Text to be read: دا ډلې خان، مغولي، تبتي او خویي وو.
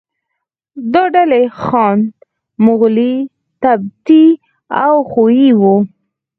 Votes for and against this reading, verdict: 2, 4, rejected